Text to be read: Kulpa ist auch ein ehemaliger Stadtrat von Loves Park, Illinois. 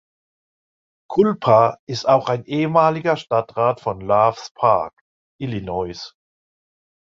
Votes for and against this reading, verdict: 2, 3, rejected